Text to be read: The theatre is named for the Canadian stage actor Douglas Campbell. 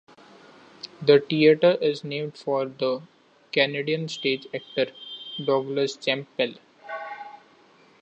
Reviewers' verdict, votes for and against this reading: rejected, 1, 2